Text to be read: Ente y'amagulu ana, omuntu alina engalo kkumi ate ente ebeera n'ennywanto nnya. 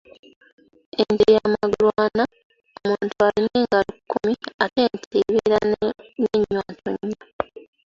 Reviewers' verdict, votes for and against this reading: rejected, 0, 2